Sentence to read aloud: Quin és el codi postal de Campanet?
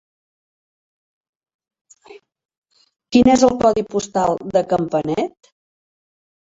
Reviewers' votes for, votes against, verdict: 3, 0, accepted